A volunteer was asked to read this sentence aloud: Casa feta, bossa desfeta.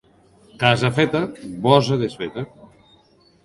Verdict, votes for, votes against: rejected, 0, 2